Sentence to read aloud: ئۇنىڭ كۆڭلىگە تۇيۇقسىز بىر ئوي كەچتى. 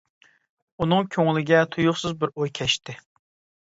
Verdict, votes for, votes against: accepted, 2, 0